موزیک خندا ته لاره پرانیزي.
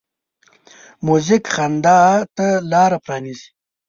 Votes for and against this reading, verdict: 4, 0, accepted